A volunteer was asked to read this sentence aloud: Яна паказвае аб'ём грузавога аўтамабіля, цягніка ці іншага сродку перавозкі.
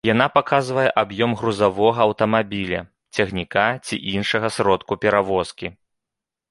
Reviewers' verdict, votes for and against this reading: accepted, 2, 0